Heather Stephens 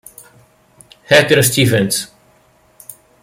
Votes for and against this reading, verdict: 2, 0, accepted